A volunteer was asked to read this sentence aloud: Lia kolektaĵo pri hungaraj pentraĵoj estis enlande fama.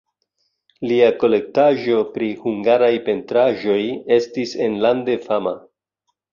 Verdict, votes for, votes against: accepted, 2, 0